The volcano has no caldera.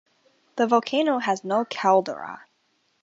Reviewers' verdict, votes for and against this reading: accepted, 3, 0